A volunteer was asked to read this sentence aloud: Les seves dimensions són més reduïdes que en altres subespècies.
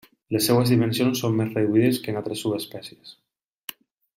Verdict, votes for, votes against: accepted, 2, 0